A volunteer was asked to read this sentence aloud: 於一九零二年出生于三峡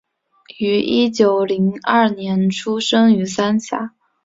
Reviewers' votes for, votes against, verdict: 1, 2, rejected